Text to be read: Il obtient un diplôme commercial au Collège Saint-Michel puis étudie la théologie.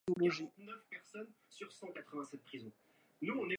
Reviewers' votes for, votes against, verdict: 0, 2, rejected